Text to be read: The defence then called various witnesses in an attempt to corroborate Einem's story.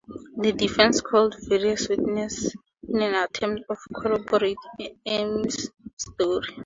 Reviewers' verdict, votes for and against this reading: rejected, 0, 2